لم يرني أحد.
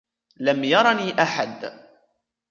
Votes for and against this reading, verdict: 1, 2, rejected